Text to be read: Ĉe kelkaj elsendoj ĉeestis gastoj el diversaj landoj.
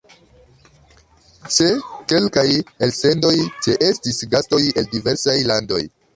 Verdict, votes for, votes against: rejected, 2, 4